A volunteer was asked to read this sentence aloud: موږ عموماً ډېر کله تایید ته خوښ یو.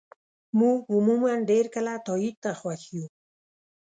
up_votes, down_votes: 2, 0